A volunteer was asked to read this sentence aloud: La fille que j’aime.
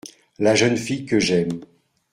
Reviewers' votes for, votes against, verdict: 0, 2, rejected